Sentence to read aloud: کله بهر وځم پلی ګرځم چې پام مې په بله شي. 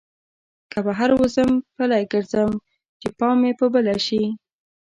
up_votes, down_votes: 0, 2